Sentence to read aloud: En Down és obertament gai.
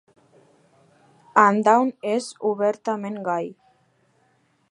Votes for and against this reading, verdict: 2, 0, accepted